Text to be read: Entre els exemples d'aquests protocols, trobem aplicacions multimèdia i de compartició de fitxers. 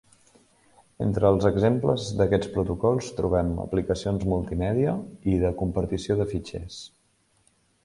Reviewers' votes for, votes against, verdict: 3, 0, accepted